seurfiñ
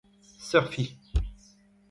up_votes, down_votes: 2, 0